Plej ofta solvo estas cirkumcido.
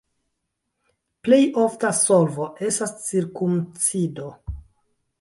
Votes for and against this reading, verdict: 1, 2, rejected